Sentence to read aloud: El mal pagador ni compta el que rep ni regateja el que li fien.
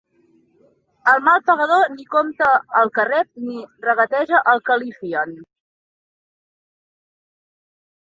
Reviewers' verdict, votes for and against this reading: accepted, 2, 1